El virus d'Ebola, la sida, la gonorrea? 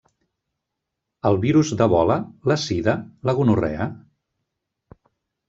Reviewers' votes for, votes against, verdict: 2, 1, accepted